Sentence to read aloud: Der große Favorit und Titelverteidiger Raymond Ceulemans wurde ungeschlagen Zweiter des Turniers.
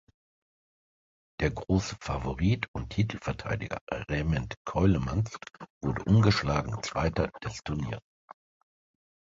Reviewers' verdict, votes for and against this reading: rejected, 0, 2